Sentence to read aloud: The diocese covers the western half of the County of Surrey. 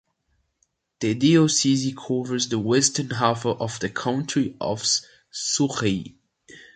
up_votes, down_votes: 1, 2